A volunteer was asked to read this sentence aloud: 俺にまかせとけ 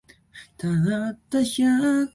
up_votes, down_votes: 0, 2